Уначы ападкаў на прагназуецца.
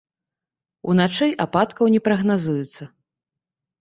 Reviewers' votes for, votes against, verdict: 0, 2, rejected